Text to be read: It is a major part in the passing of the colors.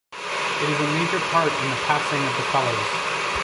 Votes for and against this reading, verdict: 1, 2, rejected